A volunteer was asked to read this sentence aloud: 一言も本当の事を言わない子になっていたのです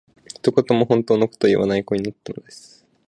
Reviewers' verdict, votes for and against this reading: accepted, 2, 0